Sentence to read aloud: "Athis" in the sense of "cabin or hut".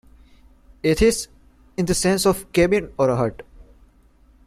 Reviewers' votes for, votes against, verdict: 2, 0, accepted